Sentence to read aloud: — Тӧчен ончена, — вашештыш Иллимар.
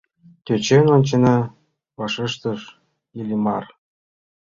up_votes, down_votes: 2, 0